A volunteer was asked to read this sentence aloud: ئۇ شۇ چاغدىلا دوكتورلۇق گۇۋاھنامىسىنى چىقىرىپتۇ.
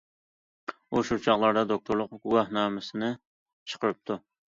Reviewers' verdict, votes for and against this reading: rejected, 0, 2